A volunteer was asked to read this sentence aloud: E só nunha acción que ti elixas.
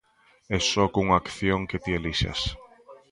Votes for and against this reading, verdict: 0, 2, rejected